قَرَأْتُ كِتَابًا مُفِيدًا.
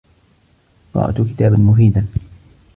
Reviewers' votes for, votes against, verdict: 2, 1, accepted